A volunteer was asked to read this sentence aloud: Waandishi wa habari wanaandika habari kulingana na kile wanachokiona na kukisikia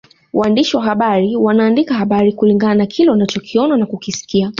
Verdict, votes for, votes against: accepted, 2, 0